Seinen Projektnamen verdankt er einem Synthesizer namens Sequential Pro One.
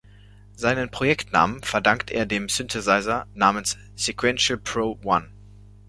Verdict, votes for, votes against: rejected, 1, 2